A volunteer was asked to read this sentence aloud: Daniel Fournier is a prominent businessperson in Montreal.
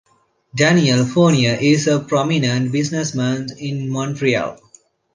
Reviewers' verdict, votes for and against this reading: rejected, 1, 2